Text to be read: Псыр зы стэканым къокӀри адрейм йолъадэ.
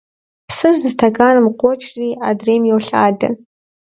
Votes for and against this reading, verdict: 2, 0, accepted